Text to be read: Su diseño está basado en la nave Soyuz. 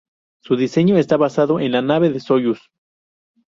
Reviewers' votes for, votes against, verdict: 0, 2, rejected